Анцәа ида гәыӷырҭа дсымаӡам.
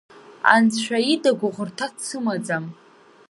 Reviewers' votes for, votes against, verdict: 2, 0, accepted